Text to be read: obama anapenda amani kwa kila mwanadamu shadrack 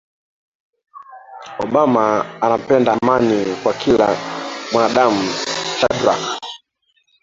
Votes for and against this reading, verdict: 0, 2, rejected